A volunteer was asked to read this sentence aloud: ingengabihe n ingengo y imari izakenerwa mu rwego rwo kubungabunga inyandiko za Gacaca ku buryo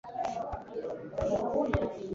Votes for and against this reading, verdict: 0, 2, rejected